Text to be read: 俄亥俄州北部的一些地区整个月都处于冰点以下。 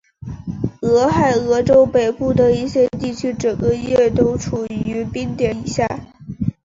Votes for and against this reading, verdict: 3, 1, accepted